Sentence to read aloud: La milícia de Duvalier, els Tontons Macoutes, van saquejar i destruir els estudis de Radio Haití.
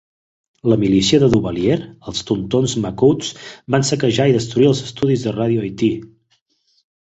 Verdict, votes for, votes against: accepted, 2, 0